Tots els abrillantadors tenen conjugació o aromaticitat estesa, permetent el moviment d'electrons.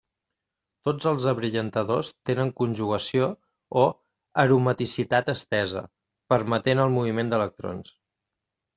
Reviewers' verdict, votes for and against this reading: accepted, 2, 0